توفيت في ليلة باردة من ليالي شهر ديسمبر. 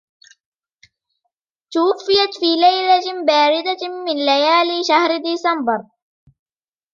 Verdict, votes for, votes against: accepted, 3, 0